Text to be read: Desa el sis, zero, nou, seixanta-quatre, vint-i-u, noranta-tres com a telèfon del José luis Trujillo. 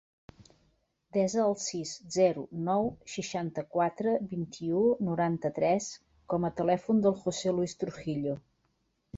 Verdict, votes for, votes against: accepted, 2, 0